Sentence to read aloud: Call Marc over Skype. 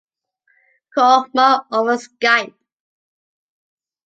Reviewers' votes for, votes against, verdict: 2, 0, accepted